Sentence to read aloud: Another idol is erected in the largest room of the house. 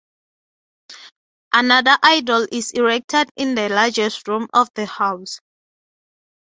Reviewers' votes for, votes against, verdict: 6, 3, accepted